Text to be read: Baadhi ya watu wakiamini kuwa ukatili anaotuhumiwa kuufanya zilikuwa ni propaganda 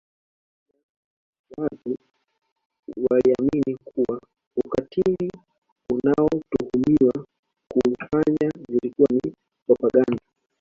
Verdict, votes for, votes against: rejected, 0, 3